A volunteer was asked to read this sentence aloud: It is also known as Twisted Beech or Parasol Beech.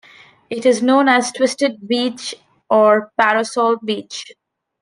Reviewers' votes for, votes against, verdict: 0, 2, rejected